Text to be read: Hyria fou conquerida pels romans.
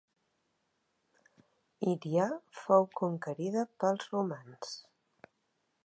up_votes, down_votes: 2, 1